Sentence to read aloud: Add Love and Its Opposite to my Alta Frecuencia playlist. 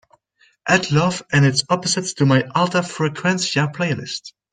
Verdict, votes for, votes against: accepted, 2, 0